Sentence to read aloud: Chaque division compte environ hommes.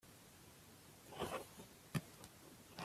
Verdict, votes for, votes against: rejected, 0, 2